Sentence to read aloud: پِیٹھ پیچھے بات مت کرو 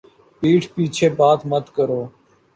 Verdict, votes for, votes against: accepted, 2, 0